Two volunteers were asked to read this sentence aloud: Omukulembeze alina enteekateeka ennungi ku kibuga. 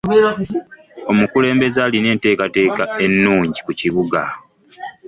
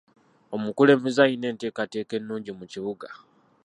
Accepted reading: first